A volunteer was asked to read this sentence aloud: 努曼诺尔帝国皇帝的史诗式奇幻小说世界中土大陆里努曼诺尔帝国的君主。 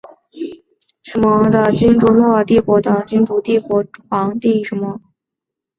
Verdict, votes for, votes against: accepted, 5, 2